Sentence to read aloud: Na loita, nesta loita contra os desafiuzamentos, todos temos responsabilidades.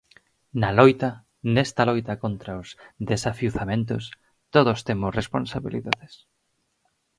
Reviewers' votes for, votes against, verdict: 2, 2, rejected